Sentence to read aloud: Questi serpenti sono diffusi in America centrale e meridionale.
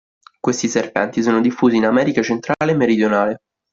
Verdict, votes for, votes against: accepted, 2, 0